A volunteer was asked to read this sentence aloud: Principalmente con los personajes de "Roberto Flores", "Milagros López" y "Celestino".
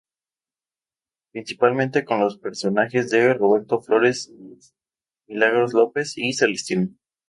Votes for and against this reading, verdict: 2, 2, rejected